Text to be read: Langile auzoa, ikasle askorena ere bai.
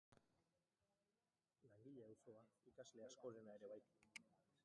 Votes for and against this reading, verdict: 0, 3, rejected